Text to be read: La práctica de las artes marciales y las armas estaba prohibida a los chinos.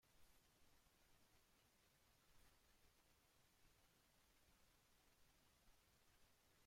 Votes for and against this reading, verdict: 0, 2, rejected